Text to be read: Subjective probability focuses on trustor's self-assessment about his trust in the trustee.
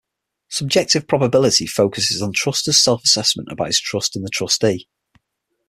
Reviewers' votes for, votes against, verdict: 6, 0, accepted